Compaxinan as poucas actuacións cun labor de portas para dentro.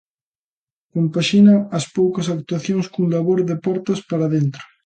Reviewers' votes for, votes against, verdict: 1, 2, rejected